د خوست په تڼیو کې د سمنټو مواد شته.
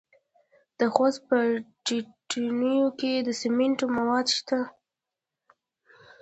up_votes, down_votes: 0, 2